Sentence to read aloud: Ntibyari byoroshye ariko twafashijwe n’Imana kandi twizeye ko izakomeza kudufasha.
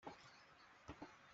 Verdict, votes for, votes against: rejected, 0, 2